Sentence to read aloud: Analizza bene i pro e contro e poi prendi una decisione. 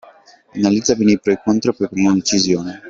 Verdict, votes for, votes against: rejected, 0, 2